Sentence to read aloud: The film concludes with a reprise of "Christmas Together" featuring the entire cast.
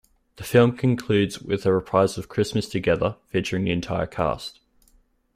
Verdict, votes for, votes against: accepted, 2, 1